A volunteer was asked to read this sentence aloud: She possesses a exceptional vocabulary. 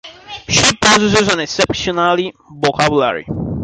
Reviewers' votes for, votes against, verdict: 0, 2, rejected